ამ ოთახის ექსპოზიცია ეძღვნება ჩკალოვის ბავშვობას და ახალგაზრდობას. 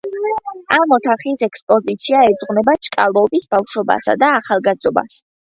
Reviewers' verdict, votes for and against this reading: rejected, 1, 2